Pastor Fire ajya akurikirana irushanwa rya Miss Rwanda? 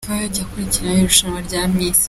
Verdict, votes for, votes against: rejected, 0, 2